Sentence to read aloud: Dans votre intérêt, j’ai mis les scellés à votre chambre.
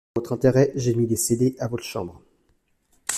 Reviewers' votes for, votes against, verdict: 0, 2, rejected